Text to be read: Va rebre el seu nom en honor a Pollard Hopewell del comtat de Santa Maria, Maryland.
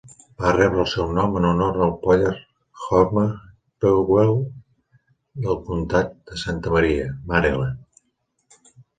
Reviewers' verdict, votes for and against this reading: rejected, 1, 2